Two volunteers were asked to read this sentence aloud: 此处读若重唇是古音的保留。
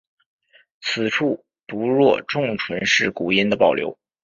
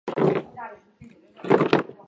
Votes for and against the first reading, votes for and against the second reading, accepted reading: 6, 0, 1, 3, first